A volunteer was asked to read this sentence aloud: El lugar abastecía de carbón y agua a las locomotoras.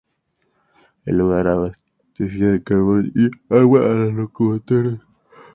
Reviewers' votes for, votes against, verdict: 2, 0, accepted